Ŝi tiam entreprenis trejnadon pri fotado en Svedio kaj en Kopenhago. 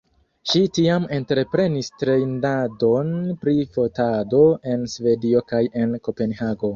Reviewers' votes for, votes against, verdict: 1, 2, rejected